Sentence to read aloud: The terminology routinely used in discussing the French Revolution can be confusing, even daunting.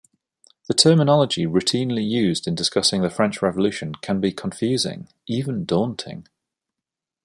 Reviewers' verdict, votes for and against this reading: accepted, 2, 0